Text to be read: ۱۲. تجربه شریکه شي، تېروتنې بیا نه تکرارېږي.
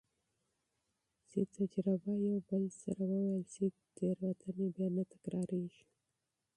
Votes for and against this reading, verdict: 0, 2, rejected